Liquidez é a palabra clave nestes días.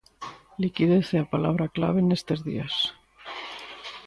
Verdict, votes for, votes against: accepted, 3, 0